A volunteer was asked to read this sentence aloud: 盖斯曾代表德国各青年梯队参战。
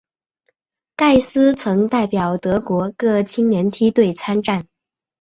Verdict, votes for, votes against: accepted, 4, 0